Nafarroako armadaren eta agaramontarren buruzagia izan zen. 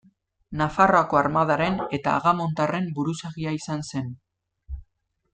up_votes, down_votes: 1, 2